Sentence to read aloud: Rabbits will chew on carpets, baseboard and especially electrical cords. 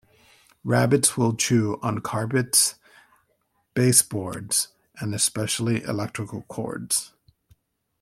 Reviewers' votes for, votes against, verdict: 1, 2, rejected